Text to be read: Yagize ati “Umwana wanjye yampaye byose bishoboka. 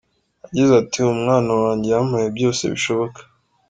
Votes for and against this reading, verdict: 3, 1, accepted